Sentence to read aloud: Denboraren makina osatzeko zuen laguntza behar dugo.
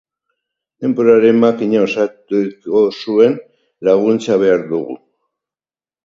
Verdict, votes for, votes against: rejected, 0, 2